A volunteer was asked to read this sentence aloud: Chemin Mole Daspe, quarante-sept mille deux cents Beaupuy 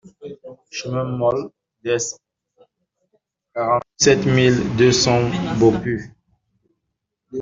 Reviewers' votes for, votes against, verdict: 2, 1, accepted